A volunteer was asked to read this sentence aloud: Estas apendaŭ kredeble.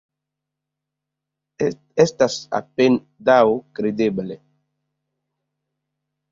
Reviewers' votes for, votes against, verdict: 0, 2, rejected